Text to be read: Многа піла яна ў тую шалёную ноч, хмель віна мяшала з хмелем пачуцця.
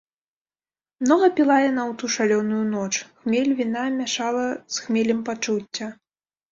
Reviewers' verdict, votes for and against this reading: rejected, 1, 3